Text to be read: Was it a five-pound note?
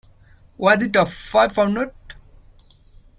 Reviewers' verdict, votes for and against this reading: rejected, 1, 2